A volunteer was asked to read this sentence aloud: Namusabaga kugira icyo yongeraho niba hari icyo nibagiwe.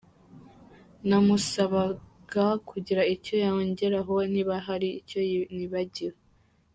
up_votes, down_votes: 2, 1